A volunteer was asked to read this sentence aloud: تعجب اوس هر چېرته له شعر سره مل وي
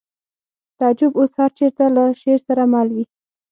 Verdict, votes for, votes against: accepted, 6, 0